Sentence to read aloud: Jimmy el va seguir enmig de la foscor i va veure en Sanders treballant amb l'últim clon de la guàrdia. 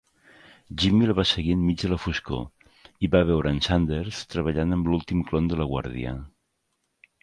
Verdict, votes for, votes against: accepted, 2, 0